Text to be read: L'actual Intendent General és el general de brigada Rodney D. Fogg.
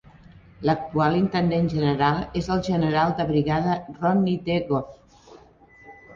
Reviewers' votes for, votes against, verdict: 1, 2, rejected